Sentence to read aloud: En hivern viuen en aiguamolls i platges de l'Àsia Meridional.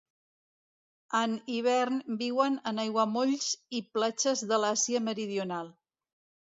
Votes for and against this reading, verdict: 2, 0, accepted